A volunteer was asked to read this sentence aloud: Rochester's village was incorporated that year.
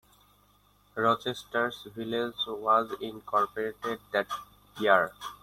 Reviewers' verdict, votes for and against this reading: accepted, 2, 1